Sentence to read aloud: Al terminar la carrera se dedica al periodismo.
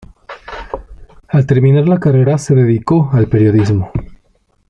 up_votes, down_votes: 2, 1